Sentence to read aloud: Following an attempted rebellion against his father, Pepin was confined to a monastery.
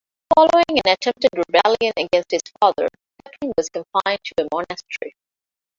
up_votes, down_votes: 0, 2